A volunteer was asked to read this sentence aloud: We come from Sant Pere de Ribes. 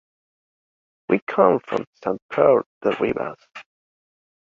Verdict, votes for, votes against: accepted, 2, 0